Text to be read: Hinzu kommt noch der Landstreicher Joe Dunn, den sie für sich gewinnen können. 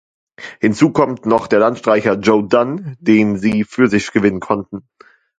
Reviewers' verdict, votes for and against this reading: rejected, 0, 2